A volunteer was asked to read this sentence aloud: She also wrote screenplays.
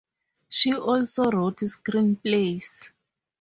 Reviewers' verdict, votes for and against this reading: accepted, 4, 0